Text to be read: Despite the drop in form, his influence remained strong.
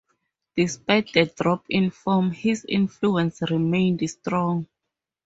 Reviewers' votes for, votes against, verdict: 2, 0, accepted